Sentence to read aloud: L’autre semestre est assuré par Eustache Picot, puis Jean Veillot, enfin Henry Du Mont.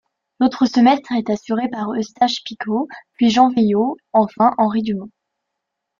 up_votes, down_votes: 1, 2